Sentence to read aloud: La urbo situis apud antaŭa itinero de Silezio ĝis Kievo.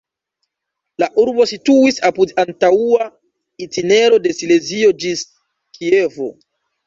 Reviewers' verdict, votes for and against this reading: rejected, 1, 2